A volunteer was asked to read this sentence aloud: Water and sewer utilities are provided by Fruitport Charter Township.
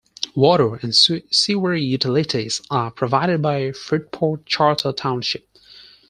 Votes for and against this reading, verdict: 4, 2, accepted